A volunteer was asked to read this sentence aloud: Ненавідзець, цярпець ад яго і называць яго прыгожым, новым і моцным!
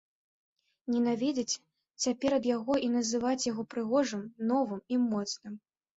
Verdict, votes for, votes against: rejected, 0, 2